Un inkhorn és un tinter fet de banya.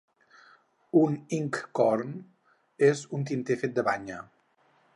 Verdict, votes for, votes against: accepted, 4, 0